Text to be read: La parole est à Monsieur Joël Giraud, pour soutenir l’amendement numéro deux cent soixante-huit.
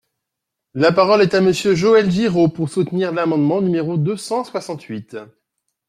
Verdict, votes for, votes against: accepted, 2, 0